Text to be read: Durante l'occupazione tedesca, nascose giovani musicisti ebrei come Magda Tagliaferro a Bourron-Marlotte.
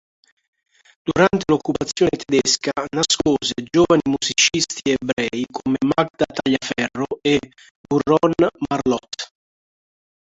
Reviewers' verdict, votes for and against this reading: rejected, 2, 4